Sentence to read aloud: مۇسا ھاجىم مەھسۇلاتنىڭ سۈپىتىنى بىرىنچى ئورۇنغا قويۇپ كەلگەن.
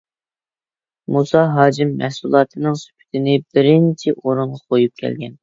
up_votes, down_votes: 1, 2